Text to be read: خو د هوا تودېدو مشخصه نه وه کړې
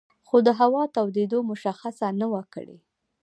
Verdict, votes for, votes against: rejected, 1, 2